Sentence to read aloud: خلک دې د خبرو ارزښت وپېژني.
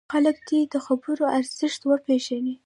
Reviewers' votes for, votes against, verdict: 0, 2, rejected